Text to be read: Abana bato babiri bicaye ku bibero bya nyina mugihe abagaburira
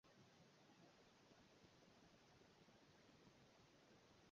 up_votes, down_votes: 0, 2